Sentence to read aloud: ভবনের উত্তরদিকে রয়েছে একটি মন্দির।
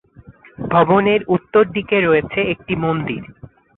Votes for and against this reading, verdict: 6, 1, accepted